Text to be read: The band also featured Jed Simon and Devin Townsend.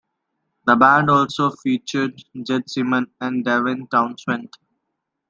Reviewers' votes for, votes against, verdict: 2, 0, accepted